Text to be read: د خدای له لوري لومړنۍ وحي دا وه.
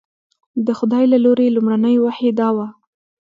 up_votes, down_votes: 1, 2